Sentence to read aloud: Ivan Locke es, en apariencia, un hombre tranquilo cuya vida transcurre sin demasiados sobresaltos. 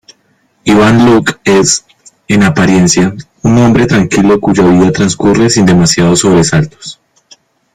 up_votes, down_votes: 2, 0